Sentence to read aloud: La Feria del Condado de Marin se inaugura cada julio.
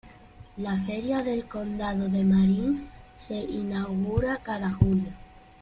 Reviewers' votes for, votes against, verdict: 2, 0, accepted